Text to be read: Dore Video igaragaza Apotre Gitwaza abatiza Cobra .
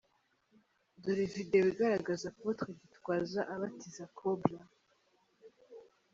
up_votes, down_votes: 2, 0